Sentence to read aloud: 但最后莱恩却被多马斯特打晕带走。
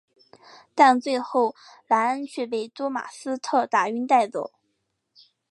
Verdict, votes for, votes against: accepted, 8, 1